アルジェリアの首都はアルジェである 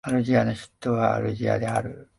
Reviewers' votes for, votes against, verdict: 0, 2, rejected